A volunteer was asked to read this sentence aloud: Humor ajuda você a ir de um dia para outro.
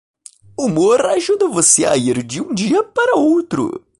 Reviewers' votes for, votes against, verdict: 2, 0, accepted